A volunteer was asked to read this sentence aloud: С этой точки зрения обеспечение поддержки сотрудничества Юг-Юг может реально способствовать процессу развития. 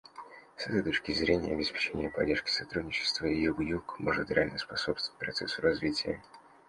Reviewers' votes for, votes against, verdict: 2, 1, accepted